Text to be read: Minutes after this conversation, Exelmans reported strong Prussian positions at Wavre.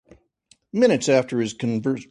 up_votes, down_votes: 0, 2